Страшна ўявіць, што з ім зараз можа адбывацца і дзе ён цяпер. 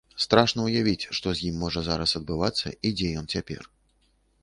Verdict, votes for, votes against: rejected, 0, 2